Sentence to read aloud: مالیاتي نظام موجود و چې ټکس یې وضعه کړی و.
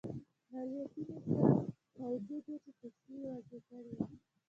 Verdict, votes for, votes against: rejected, 0, 2